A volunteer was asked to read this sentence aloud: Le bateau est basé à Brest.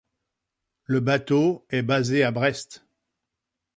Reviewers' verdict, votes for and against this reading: accepted, 2, 0